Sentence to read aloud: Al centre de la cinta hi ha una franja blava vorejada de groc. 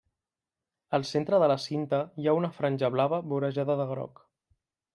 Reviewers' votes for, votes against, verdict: 3, 0, accepted